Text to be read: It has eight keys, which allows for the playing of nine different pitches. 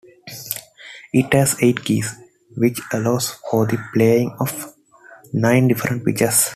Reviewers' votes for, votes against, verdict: 2, 0, accepted